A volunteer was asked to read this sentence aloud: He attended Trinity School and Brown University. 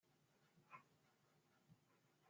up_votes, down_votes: 0, 2